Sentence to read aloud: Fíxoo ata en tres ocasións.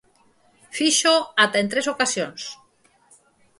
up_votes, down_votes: 4, 0